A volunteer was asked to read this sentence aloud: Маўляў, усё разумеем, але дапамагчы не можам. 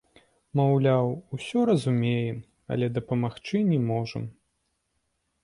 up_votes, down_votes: 2, 0